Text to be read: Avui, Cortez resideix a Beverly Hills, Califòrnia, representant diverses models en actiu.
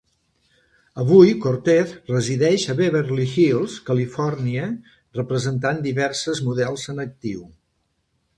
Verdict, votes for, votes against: accepted, 2, 0